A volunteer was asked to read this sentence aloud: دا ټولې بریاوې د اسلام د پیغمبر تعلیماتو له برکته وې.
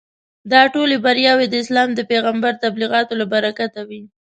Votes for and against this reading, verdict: 1, 2, rejected